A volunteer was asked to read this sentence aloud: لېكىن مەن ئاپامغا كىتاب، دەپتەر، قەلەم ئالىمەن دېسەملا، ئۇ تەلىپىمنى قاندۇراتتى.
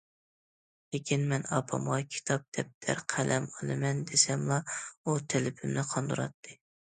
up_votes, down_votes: 2, 0